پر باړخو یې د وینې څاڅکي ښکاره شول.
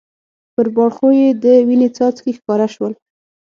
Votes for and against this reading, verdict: 6, 3, accepted